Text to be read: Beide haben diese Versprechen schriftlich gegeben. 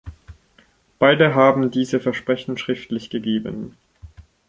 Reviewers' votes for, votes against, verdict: 2, 0, accepted